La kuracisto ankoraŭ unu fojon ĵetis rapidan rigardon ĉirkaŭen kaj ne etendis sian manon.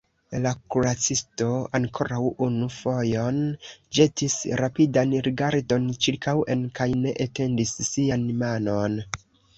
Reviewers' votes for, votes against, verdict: 1, 2, rejected